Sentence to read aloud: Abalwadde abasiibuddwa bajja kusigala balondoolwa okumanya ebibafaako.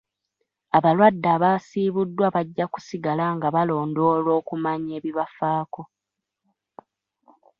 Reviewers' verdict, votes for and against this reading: rejected, 1, 2